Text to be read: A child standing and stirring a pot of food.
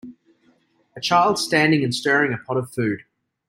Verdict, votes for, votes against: accepted, 2, 0